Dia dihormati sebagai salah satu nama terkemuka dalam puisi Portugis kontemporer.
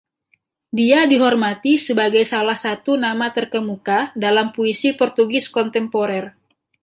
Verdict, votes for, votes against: rejected, 0, 2